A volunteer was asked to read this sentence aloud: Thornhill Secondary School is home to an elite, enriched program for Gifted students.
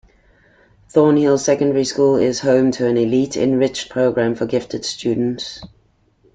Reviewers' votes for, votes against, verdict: 2, 0, accepted